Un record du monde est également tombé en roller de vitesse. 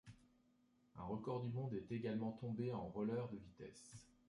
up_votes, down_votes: 0, 2